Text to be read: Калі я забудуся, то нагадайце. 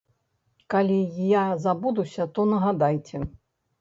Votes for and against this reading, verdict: 2, 0, accepted